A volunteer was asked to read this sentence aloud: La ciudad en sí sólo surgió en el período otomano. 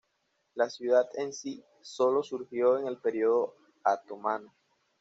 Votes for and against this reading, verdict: 1, 2, rejected